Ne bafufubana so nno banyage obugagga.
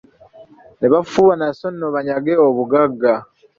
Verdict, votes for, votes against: rejected, 0, 2